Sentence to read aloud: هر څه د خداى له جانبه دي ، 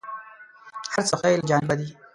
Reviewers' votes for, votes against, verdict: 2, 4, rejected